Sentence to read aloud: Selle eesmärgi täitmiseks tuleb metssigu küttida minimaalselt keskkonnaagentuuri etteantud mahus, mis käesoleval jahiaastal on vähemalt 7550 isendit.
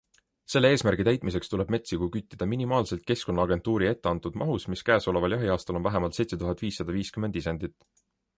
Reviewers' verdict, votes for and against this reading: rejected, 0, 2